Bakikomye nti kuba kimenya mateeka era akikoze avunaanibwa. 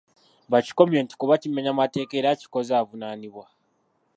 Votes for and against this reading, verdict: 1, 2, rejected